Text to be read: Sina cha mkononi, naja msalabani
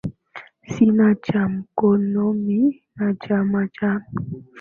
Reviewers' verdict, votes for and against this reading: rejected, 0, 2